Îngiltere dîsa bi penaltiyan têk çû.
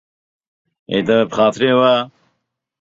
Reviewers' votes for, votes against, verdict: 0, 2, rejected